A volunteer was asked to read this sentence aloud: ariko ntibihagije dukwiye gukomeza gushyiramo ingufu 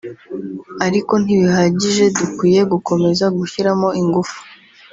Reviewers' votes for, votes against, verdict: 3, 0, accepted